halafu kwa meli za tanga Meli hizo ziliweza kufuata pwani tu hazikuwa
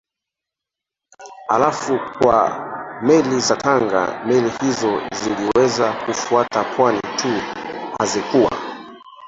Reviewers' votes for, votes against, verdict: 0, 3, rejected